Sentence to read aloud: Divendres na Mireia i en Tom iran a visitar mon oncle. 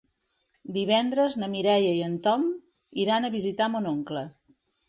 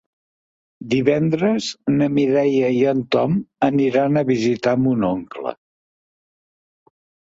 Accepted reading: first